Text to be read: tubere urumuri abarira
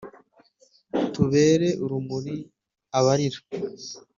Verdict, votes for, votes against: accepted, 3, 0